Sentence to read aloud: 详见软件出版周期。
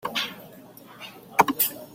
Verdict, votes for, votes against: rejected, 0, 2